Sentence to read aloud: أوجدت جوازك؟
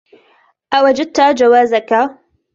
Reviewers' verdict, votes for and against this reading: accepted, 2, 0